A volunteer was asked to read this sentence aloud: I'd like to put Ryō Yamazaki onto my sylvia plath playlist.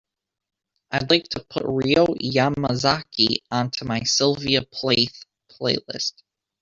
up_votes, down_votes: 2, 0